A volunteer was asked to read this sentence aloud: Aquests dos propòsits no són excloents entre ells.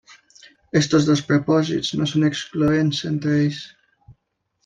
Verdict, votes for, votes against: accepted, 2, 0